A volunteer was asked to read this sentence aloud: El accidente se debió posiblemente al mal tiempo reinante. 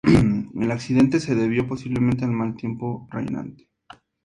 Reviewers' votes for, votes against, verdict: 2, 0, accepted